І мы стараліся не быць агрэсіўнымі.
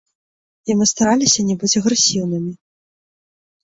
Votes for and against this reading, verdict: 1, 3, rejected